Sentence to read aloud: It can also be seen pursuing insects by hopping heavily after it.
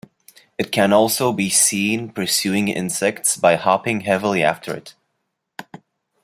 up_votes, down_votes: 2, 1